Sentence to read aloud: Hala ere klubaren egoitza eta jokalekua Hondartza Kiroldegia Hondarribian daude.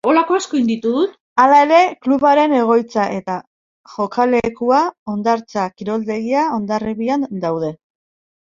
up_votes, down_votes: 2, 1